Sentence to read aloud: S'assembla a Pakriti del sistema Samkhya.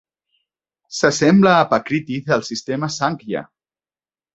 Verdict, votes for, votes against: accepted, 2, 0